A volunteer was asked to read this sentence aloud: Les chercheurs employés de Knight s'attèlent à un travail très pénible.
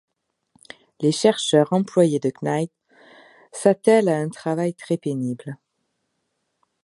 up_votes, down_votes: 2, 0